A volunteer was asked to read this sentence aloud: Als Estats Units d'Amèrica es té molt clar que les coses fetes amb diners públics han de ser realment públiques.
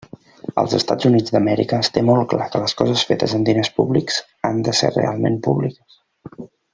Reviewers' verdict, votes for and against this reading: rejected, 1, 2